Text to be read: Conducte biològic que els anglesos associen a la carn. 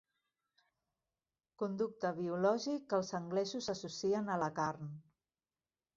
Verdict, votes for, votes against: accepted, 3, 0